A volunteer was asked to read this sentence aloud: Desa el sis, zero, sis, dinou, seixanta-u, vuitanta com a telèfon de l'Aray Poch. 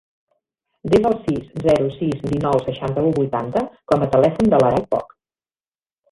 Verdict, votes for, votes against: accepted, 2, 1